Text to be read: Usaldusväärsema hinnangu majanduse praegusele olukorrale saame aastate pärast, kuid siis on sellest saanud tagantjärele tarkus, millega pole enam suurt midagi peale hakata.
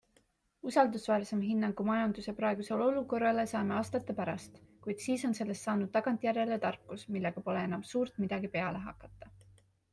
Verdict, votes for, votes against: accepted, 3, 0